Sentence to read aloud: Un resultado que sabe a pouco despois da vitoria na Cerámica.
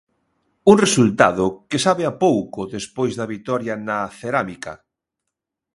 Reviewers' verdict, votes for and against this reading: accepted, 2, 0